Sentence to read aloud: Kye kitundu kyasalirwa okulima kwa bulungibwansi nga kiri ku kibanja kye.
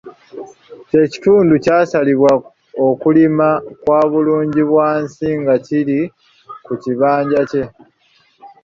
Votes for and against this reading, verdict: 2, 0, accepted